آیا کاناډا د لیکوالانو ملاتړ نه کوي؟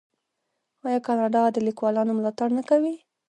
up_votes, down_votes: 1, 2